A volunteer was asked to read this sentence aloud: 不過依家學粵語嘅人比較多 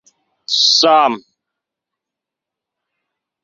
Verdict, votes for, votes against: rejected, 0, 2